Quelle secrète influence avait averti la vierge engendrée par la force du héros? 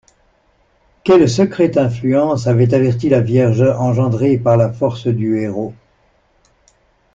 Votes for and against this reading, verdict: 2, 0, accepted